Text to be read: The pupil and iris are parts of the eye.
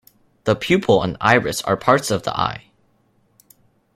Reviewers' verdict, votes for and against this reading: accepted, 2, 0